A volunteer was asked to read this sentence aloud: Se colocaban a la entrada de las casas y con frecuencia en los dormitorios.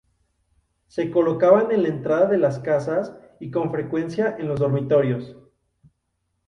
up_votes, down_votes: 0, 2